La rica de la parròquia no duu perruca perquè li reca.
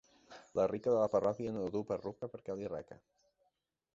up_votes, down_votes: 1, 2